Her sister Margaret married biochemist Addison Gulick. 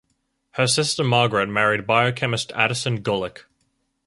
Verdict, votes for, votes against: accepted, 4, 0